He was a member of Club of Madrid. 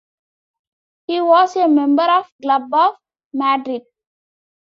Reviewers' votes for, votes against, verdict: 1, 2, rejected